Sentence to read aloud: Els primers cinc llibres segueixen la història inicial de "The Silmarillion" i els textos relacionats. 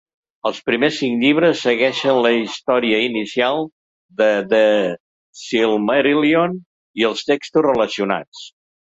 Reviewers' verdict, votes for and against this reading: rejected, 1, 2